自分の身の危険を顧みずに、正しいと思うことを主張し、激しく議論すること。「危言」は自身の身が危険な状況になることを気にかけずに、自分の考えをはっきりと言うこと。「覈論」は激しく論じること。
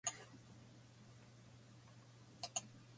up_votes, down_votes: 0, 2